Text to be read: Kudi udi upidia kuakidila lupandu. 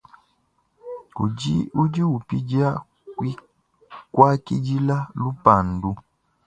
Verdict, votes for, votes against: rejected, 0, 2